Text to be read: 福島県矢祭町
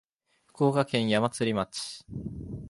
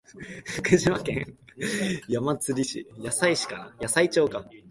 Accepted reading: first